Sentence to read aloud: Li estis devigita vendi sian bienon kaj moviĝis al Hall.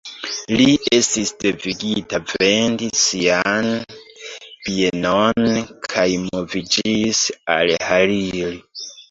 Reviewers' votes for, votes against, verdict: 1, 2, rejected